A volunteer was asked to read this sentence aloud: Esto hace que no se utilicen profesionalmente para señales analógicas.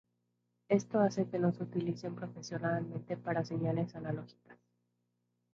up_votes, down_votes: 2, 0